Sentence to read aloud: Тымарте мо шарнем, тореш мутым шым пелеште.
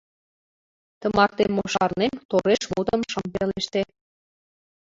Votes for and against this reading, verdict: 1, 2, rejected